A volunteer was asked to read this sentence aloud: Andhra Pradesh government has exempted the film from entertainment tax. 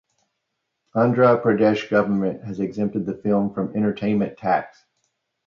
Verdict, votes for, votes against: accepted, 2, 0